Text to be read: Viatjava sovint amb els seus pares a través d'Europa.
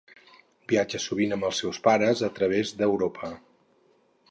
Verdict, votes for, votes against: rejected, 2, 2